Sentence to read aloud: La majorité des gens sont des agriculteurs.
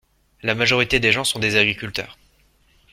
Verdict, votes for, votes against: accepted, 2, 0